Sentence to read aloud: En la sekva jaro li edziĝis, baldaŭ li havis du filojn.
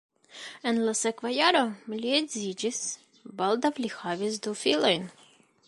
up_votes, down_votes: 0, 2